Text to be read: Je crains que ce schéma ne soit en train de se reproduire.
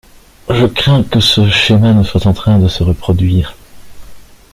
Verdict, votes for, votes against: accepted, 2, 0